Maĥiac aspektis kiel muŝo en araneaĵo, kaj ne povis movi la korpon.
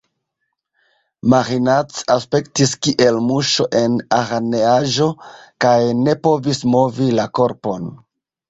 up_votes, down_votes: 1, 3